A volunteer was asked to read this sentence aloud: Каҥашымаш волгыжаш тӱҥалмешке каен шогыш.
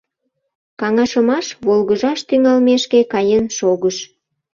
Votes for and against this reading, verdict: 2, 0, accepted